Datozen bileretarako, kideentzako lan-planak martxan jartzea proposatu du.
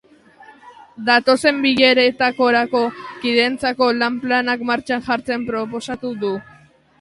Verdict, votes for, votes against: rejected, 1, 3